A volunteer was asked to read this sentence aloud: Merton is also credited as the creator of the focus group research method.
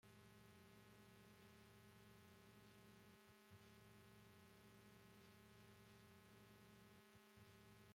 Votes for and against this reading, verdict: 0, 2, rejected